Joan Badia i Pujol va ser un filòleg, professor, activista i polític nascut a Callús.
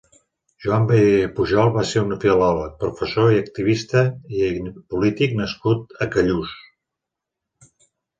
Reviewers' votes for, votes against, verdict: 1, 2, rejected